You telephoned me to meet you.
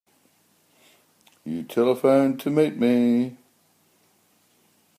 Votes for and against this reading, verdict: 0, 2, rejected